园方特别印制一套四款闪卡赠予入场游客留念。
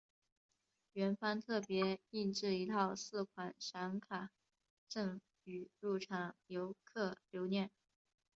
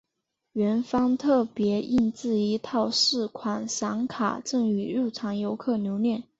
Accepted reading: second